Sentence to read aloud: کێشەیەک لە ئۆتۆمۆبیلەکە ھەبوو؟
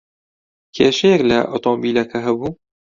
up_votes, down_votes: 0, 2